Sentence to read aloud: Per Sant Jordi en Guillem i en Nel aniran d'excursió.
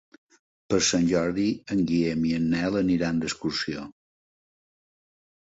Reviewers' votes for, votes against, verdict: 4, 0, accepted